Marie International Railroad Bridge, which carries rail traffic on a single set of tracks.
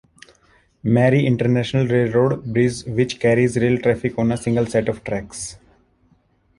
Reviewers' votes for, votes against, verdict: 2, 1, accepted